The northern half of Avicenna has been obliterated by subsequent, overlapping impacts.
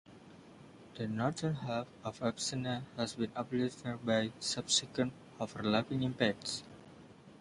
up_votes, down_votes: 0, 2